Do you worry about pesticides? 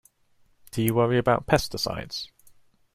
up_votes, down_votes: 2, 0